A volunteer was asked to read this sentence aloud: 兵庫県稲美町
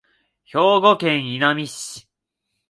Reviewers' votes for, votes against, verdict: 2, 0, accepted